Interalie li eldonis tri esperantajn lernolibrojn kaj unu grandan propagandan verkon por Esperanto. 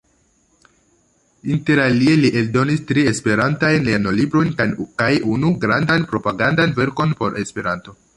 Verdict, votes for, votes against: rejected, 0, 2